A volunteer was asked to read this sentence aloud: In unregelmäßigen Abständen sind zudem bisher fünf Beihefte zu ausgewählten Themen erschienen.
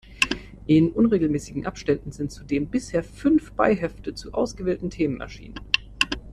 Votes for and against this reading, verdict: 2, 0, accepted